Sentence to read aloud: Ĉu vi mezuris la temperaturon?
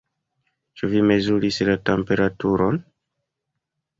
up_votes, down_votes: 1, 2